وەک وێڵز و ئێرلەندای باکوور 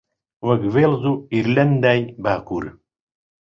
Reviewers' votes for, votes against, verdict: 2, 0, accepted